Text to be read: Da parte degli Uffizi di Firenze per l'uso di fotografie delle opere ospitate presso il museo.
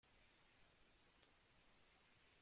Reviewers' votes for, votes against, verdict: 0, 2, rejected